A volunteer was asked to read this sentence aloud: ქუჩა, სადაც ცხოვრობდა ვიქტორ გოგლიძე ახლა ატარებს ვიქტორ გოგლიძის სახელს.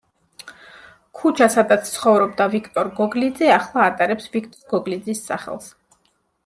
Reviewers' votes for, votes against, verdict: 1, 2, rejected